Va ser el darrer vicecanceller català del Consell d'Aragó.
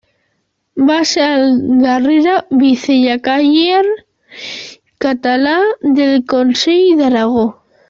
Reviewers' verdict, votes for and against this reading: rejected, 0, 2